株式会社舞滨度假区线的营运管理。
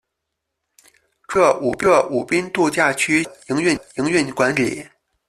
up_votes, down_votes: 0, 2